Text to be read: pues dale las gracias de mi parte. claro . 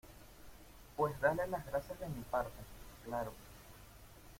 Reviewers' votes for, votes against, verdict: 1, 2, rejected